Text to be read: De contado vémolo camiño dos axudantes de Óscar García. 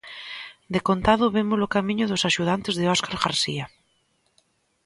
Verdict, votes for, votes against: accepted, 2, 0